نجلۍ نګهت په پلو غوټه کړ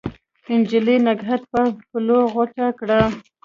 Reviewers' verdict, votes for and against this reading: accepted, 2, 0